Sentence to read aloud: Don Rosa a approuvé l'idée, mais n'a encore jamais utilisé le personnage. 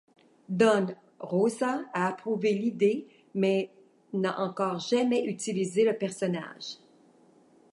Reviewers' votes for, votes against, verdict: 2, 1, accepted